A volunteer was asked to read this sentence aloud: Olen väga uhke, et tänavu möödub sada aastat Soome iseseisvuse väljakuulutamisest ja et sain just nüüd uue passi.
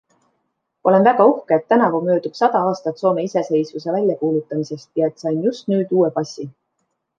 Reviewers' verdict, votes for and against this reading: accepted, 2, 0